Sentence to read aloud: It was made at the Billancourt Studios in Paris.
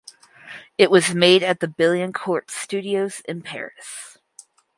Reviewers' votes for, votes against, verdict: 2, 2, rejected